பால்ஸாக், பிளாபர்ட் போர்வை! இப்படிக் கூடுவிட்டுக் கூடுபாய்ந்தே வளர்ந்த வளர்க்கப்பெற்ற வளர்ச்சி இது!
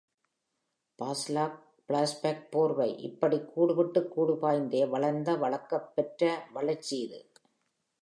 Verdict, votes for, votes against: rejected, 1, 2